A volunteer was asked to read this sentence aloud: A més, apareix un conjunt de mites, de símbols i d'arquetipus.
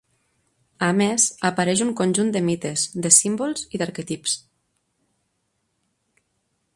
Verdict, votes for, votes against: rejected, 2, 3